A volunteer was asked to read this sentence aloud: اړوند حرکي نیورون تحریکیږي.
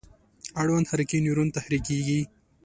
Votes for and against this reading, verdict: 2, 0, accepted